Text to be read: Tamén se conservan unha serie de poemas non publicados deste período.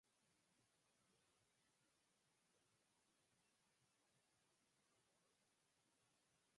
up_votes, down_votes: 0, 6